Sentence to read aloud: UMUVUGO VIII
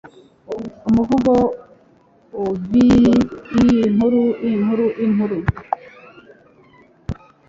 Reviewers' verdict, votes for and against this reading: rejected, 0, 2